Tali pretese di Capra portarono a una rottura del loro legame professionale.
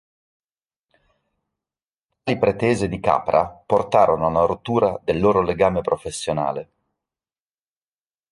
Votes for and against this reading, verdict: 1, 2, rejected